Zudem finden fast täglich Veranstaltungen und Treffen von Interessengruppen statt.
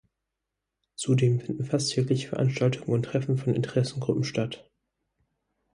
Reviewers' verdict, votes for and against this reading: accepted, 4, 0